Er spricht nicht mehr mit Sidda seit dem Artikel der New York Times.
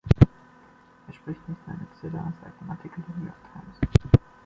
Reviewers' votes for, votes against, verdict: 2, 1, accepted